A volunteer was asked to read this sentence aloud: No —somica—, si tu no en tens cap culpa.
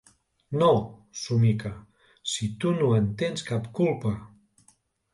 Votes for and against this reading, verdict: 2, 0, accepted